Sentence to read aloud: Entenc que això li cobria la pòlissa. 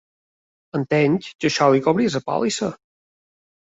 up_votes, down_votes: 3, 5